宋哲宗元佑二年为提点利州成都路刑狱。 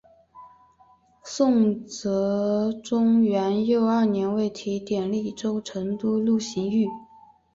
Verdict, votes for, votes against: accepted, 3, 0